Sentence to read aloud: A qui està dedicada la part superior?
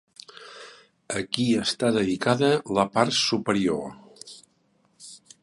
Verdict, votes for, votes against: rejected, 0, 2